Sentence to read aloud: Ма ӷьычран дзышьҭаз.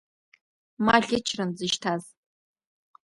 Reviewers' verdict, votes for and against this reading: accepted, 2, 0